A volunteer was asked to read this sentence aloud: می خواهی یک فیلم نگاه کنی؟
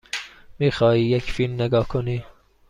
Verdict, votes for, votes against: accepted, 2, 0